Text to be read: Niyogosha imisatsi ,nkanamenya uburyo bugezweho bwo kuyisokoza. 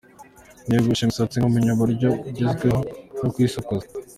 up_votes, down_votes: 1, 3